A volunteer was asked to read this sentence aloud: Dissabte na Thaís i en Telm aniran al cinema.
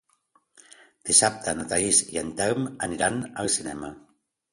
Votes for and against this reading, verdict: 2, 0, accepted